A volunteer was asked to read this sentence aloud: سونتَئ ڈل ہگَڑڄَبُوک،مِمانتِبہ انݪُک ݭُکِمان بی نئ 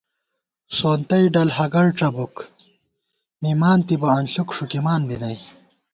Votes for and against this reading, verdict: 2, 0, accepted